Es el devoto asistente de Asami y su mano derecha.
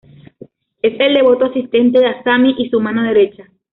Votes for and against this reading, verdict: 2, 1, accepted